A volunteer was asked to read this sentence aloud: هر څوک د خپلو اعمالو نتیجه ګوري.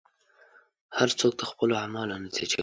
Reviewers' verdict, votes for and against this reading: rejected, 0, 2